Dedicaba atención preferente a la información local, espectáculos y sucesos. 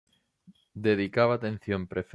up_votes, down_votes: 0, 2